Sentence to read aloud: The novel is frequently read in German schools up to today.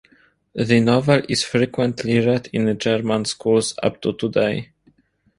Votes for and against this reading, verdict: 0, 2, rejected